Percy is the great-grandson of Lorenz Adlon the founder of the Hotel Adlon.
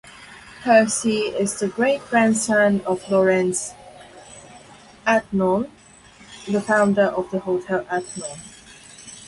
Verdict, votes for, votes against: accepted, 4, 2